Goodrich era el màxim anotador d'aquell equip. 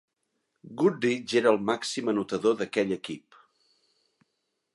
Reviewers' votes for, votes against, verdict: 2, 0, accepted